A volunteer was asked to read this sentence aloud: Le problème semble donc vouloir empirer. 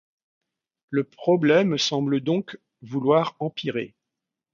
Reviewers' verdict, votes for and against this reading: accepted, 2, 0